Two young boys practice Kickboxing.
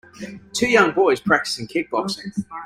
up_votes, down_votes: 0, 2